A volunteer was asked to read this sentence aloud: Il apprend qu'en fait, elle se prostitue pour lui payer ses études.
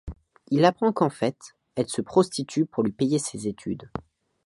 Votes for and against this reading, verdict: 2, 0, accepted